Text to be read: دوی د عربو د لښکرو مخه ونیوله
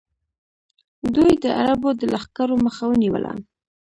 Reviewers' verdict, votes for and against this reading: accepted, 2, 1